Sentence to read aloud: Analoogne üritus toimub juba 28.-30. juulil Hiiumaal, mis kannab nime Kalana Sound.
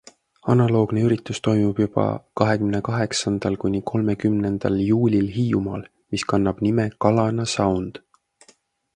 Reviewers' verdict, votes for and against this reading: rejected, 0, 2